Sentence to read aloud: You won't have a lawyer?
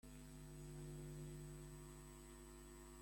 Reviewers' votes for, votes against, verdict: 0, 2, rejected